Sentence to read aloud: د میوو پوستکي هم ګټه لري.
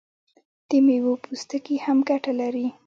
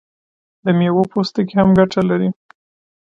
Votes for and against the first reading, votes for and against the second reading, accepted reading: 2, 0, 1, 2, first